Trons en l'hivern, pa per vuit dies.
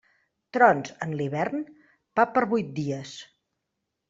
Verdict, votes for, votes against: accepted, 2, 0